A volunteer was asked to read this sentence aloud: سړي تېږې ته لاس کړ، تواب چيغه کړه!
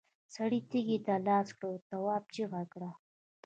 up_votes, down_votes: 1, 2